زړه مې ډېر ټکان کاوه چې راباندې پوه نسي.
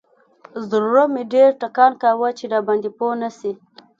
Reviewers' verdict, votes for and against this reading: accepted, 2, 0